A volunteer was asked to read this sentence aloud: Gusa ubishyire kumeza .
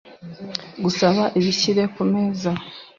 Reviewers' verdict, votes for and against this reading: rejected, 1, 2